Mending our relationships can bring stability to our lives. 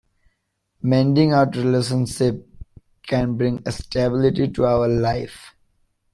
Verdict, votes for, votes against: rejected, 0, 2